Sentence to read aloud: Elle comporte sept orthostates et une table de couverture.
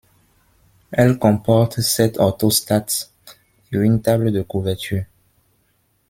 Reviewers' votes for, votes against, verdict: 1, 2, rejected